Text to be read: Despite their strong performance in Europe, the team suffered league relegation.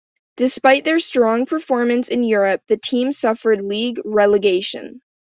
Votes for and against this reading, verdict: 2, 0, accepted